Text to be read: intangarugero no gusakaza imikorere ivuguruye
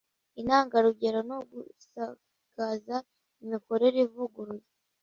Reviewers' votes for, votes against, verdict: 2, 0, accepted